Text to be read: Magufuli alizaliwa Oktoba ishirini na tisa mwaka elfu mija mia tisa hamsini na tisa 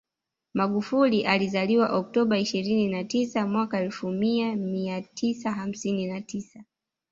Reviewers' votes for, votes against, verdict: 2, 1, accepted